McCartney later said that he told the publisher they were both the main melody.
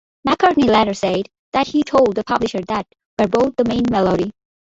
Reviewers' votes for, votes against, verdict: 0, 2, rejected